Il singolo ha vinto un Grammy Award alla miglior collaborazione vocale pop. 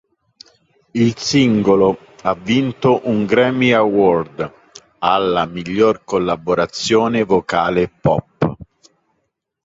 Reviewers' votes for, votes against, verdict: 3, 0, accepted